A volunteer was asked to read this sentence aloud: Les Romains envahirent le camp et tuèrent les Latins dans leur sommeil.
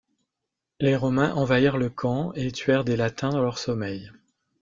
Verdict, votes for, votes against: rejected, 0, 2